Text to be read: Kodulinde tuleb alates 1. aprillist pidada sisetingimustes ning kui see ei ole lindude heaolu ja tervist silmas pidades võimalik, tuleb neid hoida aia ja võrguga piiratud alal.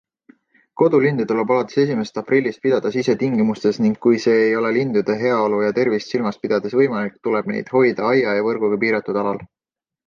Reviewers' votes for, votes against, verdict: 0, 2, rejected